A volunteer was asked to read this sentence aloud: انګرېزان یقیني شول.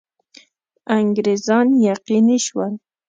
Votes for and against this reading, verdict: 2, 0, accepted